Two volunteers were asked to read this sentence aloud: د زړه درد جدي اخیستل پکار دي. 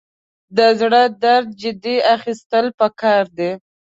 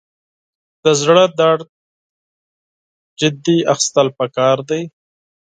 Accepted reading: first